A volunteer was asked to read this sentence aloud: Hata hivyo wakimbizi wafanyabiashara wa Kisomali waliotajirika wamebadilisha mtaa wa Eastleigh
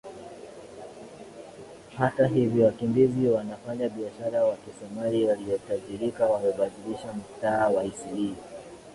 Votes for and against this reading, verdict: 10, 1, accepted